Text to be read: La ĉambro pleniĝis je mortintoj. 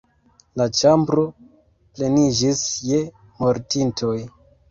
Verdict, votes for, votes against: accepted, 2, 1